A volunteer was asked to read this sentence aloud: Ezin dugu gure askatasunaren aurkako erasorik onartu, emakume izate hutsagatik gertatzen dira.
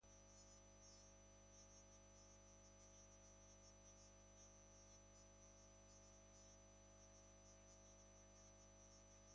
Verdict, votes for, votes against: rejected, 0, 2